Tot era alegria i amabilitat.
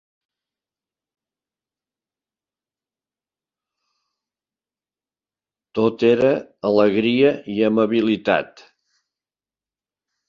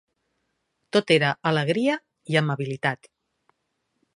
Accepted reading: second